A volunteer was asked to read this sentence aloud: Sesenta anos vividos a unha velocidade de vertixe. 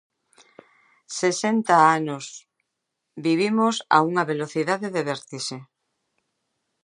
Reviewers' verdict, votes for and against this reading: rejected, 0, 2